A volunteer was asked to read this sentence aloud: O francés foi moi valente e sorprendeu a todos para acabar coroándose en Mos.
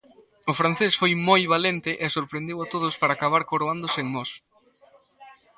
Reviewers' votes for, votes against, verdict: 1, 2, rejected